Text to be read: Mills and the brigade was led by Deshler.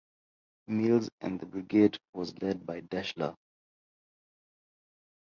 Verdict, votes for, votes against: rejected, 2, 3